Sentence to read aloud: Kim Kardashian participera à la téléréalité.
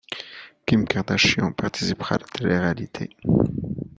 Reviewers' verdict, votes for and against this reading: accepted, 2, 1